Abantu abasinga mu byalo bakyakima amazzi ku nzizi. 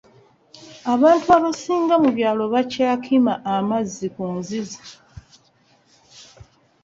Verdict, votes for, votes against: accepted, 2, 1